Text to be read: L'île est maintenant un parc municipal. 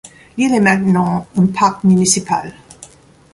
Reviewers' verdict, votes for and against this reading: accepted, 2, 1